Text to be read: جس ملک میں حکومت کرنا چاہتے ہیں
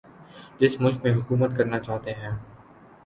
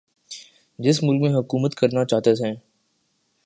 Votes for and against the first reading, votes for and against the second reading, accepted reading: 2, 0, 1, 2, first